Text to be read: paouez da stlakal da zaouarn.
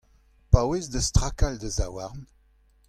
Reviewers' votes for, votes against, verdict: 2, 0, accepted